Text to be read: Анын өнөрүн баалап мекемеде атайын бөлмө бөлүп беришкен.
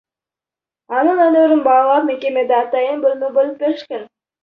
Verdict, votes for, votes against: rejected, 1, 2